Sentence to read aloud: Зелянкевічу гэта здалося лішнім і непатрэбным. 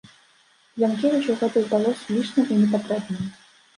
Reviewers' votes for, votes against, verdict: 0, 2, rejected